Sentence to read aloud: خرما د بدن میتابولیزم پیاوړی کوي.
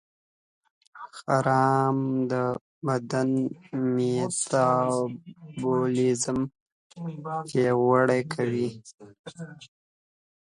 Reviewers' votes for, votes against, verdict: 0, 2, rejected